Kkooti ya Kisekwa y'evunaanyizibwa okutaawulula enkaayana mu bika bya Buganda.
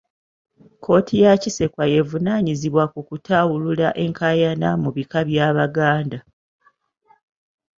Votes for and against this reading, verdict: 0, 2, rejected